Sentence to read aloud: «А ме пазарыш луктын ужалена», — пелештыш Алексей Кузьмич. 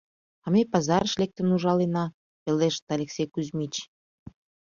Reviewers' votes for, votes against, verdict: 1, 2, rejected